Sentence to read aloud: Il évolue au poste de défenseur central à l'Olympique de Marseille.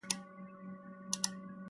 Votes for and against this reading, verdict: 1, 2, rejected